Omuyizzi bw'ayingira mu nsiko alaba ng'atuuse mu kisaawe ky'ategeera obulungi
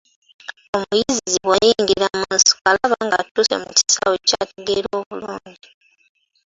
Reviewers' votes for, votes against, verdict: 1, 2, rejected